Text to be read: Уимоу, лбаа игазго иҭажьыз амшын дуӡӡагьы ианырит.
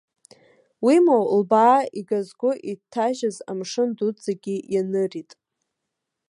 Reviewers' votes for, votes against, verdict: 2, 1, accepted